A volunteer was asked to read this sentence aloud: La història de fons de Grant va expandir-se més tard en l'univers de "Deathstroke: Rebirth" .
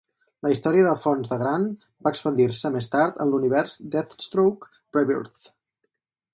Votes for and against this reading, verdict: 0, 2, rejected